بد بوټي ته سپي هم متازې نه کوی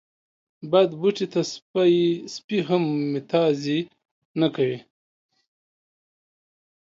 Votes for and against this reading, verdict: 2, 1, accepted